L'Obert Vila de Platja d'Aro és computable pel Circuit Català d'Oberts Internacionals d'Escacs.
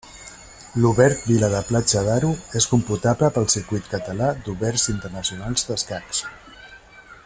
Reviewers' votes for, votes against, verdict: 2, 1, accepted